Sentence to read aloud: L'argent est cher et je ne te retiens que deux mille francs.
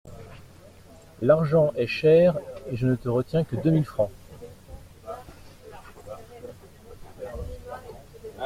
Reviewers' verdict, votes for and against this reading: accepted, 2, 0